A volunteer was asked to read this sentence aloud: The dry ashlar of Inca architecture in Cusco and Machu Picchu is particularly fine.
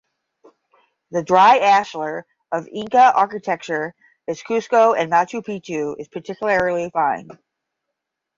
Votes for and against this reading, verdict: 5, 10, rejected